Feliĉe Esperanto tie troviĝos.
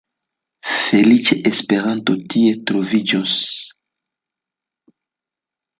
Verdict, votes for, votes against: accepted, 2, 1